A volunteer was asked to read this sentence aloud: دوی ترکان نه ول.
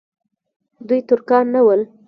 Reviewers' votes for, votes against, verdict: 2, 0, accepted